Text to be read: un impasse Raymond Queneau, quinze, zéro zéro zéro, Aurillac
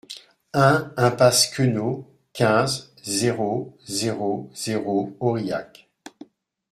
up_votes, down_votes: 0, 2